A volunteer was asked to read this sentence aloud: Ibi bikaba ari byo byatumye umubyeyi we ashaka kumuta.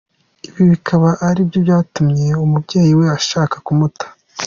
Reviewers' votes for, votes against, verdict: 2, 0, accepted